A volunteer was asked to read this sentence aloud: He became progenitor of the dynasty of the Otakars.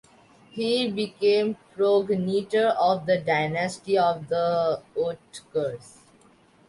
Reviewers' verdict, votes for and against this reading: rejected, 0, 2